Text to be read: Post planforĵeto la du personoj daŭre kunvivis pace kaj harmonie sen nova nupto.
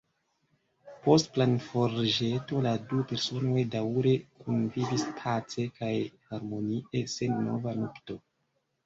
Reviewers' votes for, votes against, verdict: 1, 2, rejected